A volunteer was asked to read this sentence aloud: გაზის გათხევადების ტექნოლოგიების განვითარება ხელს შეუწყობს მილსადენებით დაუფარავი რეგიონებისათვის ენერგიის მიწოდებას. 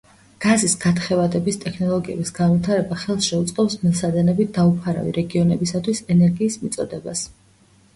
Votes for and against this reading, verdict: 2, 1, accepted